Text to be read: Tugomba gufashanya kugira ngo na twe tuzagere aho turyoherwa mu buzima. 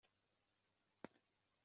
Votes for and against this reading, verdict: 0, 2, rejected